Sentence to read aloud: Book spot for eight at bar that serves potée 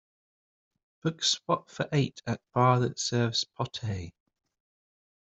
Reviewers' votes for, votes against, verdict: 2, 0, accepted